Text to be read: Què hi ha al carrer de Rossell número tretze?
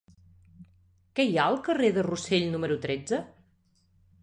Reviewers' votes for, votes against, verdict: 2, 0, accepted